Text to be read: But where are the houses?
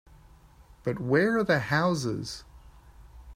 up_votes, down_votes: 3, 1